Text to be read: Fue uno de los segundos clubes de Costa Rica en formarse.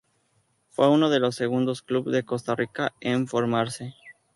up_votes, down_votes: 4, 0